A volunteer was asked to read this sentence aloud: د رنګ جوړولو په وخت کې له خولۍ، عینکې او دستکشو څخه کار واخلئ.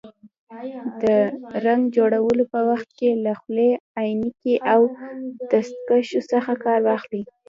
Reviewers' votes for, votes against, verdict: 0, 2, rejected